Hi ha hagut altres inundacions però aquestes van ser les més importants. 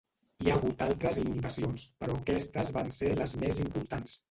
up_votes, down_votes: 0, 2